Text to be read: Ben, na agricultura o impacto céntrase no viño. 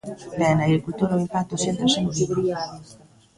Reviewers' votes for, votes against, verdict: 0, 2, rejected